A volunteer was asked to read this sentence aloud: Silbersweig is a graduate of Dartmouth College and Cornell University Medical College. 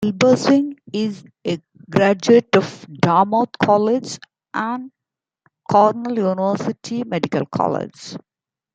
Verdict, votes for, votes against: rejected, 1, 2